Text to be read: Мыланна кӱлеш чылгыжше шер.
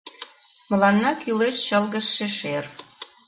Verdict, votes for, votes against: accepted, 2, 0